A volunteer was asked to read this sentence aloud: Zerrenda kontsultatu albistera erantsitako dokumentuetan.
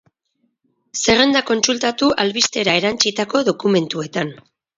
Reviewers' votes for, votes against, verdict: 4, 2, accepted